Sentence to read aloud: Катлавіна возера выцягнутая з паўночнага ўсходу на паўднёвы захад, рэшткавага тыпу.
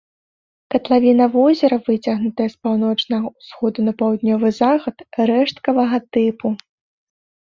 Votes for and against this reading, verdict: 2, 0, accepted